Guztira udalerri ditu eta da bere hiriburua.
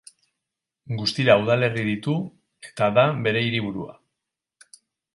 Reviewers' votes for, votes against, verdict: 6, 0, accepted